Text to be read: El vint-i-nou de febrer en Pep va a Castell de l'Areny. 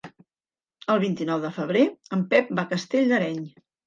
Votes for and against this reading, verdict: 0, 2, rejected